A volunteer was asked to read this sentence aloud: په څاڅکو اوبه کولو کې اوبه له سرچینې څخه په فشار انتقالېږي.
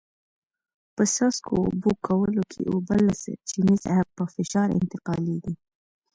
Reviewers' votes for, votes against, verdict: 2, 0, accepted